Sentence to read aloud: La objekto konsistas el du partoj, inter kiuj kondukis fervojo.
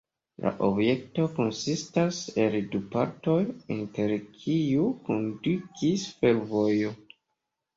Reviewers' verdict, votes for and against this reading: accepted, 2, 1